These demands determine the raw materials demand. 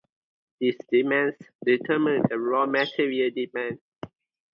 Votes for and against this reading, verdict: 0, 2, rejected